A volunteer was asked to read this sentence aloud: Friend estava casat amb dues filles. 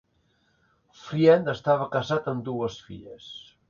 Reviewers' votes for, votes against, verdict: 3, 0, accepted